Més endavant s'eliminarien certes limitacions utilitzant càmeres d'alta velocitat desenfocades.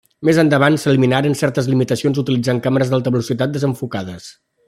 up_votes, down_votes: 1, 2